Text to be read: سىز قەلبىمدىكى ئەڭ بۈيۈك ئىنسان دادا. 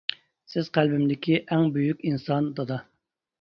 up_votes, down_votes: 2, 0